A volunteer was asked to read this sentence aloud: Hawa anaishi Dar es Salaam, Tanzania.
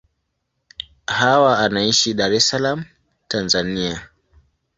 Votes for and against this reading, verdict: 2, 0, accepted